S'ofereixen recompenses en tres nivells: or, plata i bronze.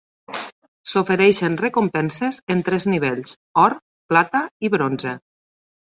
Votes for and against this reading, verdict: 4, 0, accepted